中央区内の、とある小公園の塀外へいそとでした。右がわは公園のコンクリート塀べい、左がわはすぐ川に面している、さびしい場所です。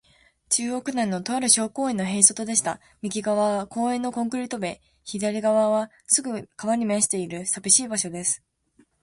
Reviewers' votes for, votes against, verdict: 2, 0, accepted